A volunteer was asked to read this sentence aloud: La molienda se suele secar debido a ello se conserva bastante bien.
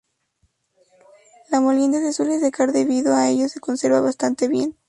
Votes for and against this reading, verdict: 0, 2, rejected